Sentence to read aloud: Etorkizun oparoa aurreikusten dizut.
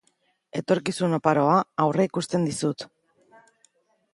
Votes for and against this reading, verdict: 4, 0, accepted